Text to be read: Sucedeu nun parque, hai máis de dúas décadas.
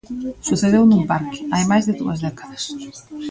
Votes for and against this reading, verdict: 0, 2, rejected